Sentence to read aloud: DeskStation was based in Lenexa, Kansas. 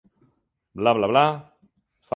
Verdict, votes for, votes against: rejected, 0, 2